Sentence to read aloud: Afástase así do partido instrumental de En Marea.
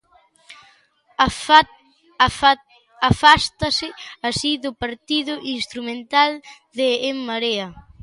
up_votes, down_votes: 0, 2